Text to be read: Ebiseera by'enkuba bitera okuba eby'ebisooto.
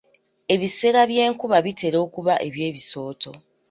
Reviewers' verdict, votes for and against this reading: accepted, 2, 0